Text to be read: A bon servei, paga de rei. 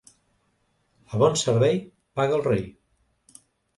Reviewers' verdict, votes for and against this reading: rejected, 0, 2